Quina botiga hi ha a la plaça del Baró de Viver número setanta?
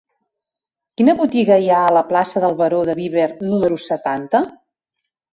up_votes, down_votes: 1, 2